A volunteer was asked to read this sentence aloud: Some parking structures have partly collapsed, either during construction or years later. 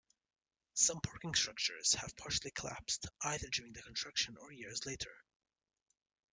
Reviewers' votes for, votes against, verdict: 1, 2, rejected